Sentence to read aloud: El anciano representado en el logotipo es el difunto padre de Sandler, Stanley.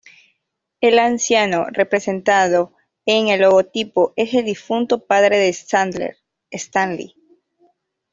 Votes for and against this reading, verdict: 2, 1, accepted